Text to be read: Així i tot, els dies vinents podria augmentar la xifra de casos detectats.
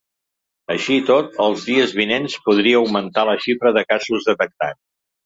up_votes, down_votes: 1, 2